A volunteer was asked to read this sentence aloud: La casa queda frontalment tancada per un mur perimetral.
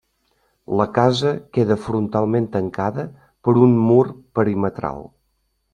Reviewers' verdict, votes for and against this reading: accepted, 3, 0